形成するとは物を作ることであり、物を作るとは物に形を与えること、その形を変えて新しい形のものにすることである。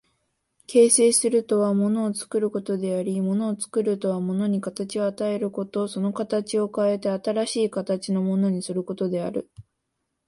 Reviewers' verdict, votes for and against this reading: accepted, 4, 0